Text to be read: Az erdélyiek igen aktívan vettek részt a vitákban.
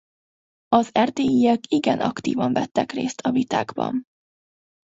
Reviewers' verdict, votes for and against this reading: accepted, 2, 0